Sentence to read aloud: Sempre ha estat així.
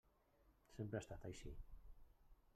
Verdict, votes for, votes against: rejected, 1, 2